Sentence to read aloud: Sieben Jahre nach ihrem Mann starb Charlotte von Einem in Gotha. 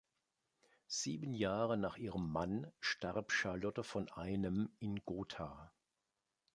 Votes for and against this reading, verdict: 2, 0, accepted